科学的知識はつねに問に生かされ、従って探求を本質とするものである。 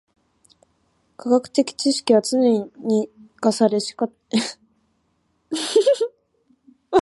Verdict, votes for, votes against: rejected, 1, 2